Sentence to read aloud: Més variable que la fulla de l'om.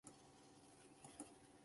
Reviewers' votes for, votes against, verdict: 0, 2, rejected